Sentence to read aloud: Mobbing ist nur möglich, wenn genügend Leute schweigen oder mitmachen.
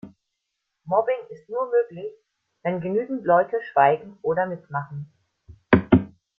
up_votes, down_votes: 0, 2